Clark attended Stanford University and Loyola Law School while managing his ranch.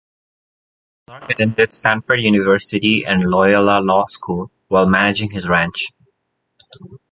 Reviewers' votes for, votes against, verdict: 1, 2, rejected